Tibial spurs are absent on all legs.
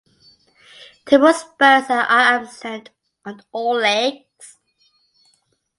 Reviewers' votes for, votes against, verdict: 2, 0, accepted